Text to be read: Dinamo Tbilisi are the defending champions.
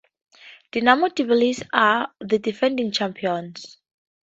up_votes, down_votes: 2, 0